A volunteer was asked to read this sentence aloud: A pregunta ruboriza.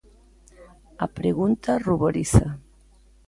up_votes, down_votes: 2, 0